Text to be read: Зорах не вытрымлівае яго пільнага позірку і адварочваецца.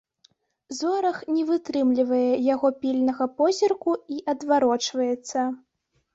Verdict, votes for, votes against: accepted, 2, 0